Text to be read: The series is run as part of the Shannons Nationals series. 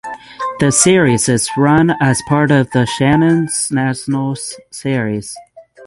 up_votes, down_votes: 6, 0